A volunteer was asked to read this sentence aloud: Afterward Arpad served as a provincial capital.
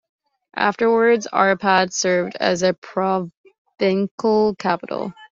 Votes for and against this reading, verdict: 2, 0, accepted